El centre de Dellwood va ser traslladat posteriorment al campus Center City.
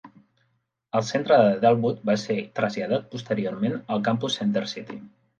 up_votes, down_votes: 2, 0